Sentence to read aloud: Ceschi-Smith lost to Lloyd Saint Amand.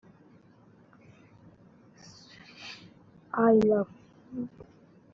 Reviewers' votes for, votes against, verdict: 0, 2, rejected